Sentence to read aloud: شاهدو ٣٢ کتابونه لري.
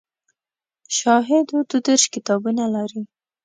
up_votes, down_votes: 0, 2